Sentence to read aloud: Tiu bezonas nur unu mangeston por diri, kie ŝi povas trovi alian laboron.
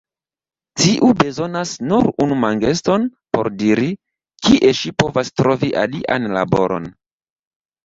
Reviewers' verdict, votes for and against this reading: rejected, 0, 2